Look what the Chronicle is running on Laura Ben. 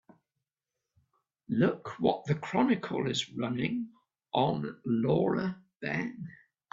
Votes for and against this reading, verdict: 2, 0, accepted